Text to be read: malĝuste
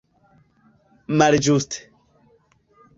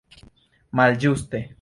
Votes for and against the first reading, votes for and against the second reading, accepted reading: 1, 2, 2, 0, second